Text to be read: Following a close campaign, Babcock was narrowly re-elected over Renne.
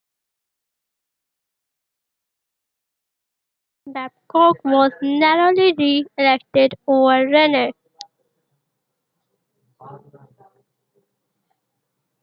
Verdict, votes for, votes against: rejected, 0, 2